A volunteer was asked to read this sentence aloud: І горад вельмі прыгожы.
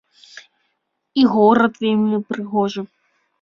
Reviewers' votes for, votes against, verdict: 2, 0, accepted